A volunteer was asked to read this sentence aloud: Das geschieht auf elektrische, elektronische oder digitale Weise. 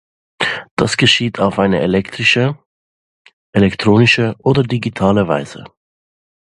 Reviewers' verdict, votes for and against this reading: rejected, 0, 2